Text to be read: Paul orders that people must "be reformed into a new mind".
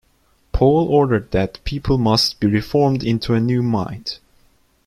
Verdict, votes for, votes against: rejected, 0, 2